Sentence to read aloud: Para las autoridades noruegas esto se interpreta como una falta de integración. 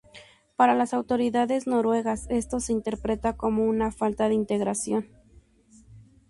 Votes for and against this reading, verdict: 2, 0, accepted